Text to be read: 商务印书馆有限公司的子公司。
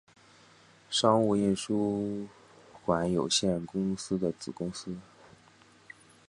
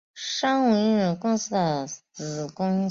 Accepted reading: first